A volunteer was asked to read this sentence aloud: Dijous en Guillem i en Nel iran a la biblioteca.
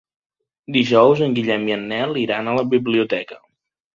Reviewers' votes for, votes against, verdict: 3, 0, accepted